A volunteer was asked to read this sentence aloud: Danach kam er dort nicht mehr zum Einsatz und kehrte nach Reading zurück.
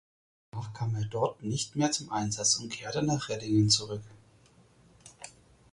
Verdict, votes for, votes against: rejected, 2, 6